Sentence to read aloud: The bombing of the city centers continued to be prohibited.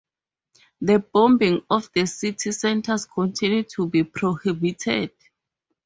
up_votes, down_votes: 4, 0